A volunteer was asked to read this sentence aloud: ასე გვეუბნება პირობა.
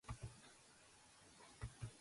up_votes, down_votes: 0, 2